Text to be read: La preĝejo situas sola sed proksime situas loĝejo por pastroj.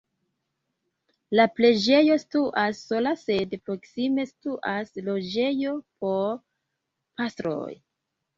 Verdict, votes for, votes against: rejected, 0, 2